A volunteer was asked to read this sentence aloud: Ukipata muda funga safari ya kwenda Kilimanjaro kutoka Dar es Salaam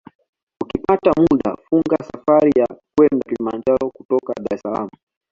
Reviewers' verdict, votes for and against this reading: accepted, 2, 0